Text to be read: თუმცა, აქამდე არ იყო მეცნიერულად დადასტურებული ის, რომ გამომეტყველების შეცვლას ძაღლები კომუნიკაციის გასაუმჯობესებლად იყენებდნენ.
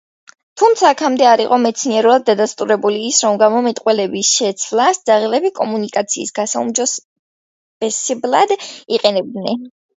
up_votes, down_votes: 1, 2